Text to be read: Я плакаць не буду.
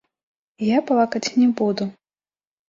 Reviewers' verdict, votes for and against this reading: rejected, 1, 2